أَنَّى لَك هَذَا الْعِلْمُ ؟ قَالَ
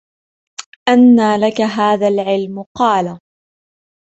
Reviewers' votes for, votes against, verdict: 0, 2, rejected